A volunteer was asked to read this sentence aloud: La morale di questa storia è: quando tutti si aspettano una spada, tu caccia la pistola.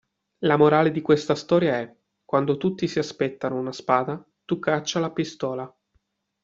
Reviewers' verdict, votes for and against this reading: accepted, 2, 0